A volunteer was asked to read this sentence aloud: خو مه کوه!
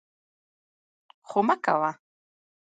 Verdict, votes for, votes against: rejected, 0, 2